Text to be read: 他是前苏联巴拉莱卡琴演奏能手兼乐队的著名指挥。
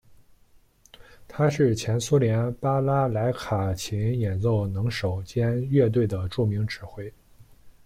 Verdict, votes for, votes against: accepted, 2, 1